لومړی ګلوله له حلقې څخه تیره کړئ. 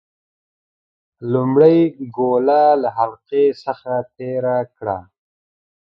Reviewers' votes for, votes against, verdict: 0, 2, rejected